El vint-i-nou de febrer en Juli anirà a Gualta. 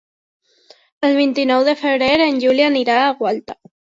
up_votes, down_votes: 3, 0